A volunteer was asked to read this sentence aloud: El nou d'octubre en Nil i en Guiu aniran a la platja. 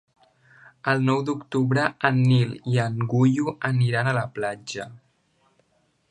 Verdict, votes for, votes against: rejected, 1, 2